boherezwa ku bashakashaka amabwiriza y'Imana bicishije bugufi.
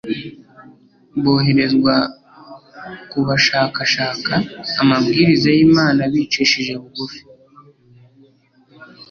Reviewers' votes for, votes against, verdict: 2, 0, accepted